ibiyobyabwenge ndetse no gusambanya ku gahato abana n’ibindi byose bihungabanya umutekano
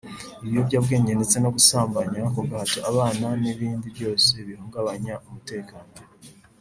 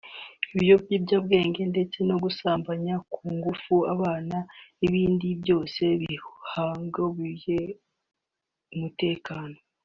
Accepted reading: first